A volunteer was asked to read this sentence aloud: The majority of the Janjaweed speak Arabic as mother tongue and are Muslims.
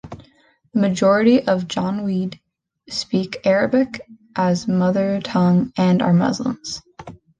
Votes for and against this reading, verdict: 0, 2, rejected